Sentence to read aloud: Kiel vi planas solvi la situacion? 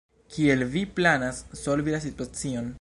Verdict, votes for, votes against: rejected, 0, 2